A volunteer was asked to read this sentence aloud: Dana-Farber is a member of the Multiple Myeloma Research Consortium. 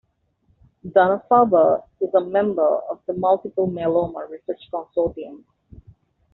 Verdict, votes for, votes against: accepted, 2, 0